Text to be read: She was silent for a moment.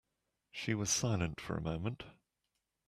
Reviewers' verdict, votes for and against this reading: accepted, 2, 0